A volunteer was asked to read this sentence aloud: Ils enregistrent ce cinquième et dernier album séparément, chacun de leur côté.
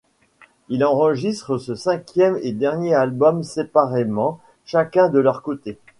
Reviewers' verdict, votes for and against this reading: rejected, 1, 2